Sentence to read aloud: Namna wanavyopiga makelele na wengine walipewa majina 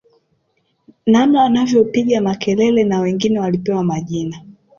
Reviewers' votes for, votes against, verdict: 2, 0, accepted